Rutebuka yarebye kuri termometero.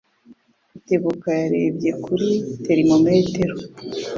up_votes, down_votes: 2, 0